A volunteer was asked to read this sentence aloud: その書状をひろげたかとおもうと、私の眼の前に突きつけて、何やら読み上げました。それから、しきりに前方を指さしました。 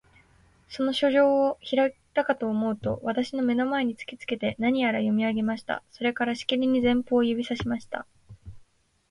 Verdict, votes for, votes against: accepted, 2, 0